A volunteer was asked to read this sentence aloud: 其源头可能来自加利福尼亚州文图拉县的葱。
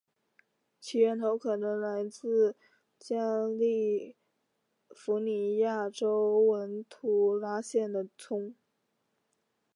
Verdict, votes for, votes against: accepted, 2, 1